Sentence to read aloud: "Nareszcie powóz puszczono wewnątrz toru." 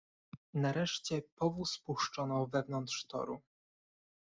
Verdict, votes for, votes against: accepted, 2, 0